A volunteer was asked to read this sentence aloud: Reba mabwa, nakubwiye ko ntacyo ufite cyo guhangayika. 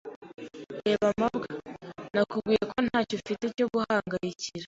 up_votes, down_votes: 1, 2